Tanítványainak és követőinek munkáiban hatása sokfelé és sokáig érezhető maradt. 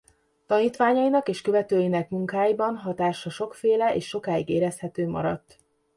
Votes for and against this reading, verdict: 0, 2, rejected